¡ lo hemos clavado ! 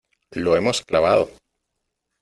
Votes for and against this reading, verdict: 2, 0, accepted